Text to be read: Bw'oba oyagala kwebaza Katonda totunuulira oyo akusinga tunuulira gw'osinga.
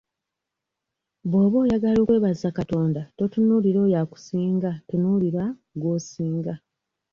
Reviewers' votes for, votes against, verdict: 1, 2, rejected